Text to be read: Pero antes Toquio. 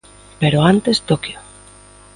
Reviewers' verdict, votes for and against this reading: accepted, 2, 0